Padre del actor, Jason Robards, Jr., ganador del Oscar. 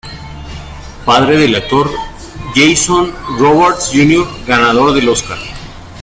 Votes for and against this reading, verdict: 2, 1, accepted